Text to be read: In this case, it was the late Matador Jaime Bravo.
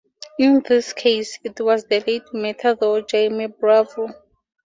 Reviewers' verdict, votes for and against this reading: accepted, 2, 0